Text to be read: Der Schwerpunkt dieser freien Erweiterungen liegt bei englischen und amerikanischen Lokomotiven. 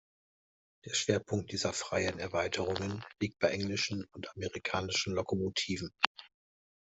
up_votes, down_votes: 2, 0